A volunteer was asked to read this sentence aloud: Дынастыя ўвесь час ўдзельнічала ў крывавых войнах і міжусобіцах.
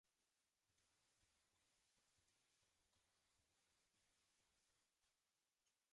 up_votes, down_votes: 0, 2